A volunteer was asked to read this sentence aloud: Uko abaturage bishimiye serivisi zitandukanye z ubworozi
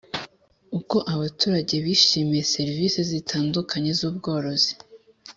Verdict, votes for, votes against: accepted, 3, 0